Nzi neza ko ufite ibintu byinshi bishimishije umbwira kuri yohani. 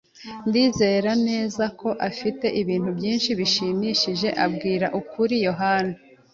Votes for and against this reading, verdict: 1, 2, rejected